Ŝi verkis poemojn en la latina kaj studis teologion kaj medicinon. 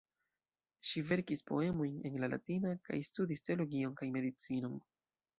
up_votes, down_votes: 1, 2